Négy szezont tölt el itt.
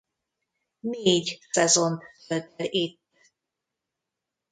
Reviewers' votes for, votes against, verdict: 0, 2, rejected